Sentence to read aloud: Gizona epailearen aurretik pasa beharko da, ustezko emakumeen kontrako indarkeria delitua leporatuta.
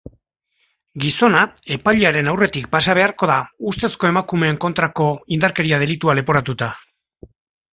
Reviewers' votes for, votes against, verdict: 2, 0, accepted